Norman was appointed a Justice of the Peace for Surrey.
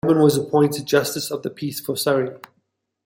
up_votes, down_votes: 0, 2